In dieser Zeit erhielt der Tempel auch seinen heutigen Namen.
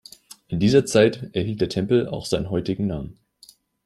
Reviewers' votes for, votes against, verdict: 2, 0, accepted